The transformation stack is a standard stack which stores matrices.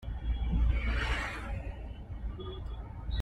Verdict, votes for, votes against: rejected, 0, 2